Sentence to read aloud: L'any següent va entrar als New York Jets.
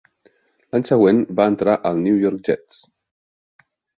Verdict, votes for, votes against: rejected, 2, 3